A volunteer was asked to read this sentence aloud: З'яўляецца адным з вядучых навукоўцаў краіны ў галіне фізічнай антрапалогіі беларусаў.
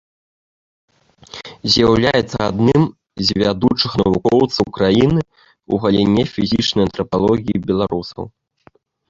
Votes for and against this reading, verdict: 0, 2, rejected